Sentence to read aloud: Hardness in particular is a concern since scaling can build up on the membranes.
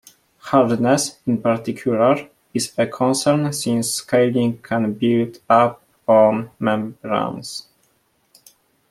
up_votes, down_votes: 0, 2